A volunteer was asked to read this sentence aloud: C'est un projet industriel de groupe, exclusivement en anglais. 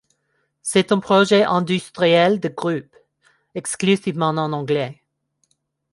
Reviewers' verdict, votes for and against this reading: rejected, 1, 2